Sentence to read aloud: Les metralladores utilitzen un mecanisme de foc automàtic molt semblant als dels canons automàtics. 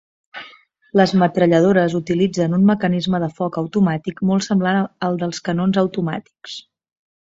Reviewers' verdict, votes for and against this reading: rejected, 1, 2